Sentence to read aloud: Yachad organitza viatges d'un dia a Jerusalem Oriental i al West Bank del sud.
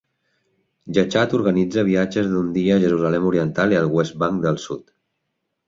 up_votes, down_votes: 2, 0